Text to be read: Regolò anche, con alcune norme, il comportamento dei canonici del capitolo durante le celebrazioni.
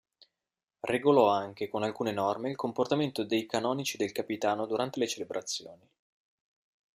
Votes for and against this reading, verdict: 0, 2, rejected